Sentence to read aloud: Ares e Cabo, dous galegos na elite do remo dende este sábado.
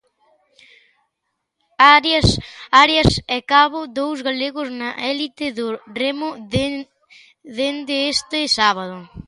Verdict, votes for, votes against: rejected, 0, 2